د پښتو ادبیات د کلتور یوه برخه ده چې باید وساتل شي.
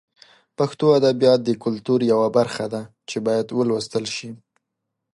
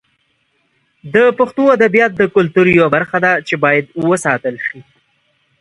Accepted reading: second